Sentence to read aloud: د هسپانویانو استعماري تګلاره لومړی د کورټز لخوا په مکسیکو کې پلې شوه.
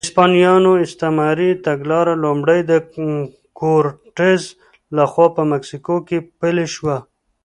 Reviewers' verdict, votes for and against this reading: accepted, 2, 0